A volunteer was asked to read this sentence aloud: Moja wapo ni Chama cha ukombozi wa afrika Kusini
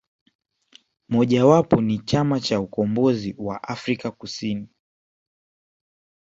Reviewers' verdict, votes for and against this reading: accepted, 2, 0